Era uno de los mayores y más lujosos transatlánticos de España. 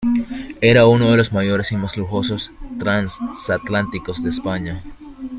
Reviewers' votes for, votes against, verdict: 2, 0, accepted